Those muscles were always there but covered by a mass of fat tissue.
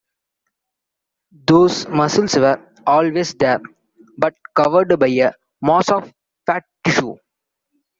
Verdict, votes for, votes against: accepted, 2, 0